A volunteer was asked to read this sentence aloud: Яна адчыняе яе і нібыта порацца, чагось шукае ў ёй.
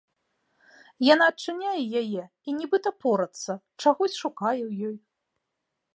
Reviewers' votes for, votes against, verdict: 2, 0, accepted